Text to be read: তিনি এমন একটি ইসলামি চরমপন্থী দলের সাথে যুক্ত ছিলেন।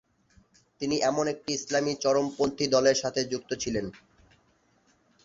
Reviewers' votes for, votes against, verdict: 1, 2, rejected